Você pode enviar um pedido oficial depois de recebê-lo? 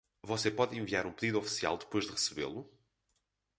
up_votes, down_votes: 2, 4